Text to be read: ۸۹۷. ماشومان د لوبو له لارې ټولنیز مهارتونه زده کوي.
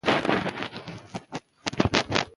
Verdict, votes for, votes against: rejected, 0, 2